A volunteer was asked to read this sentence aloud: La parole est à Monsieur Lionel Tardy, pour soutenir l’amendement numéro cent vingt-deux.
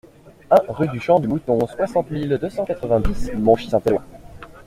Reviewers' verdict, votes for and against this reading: rejected, 0, 2